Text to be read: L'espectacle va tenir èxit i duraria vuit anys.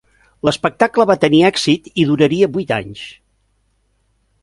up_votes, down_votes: 2, 0